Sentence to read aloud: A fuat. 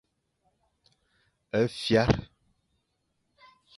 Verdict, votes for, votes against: rejected, 0, 2